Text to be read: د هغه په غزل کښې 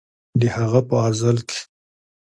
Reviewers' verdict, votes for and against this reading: accepted, 2, 0